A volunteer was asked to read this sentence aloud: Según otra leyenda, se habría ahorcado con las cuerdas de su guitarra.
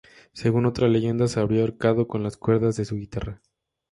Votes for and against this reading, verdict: 2, 0, accepted